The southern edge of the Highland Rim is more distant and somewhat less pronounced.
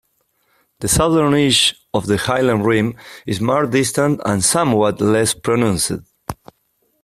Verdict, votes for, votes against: rejected, 2, 3